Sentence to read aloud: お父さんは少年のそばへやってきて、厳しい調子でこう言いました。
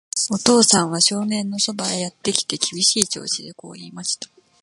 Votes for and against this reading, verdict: 2, 1, accepted